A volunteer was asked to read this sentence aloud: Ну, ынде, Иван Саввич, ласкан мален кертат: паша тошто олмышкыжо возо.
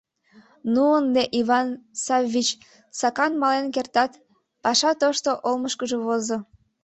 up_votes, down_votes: 1, 2